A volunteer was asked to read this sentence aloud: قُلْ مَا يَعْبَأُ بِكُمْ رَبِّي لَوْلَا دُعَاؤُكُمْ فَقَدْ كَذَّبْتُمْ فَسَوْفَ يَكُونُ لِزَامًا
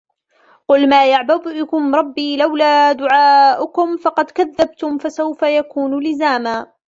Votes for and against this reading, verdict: 0, 2, rejected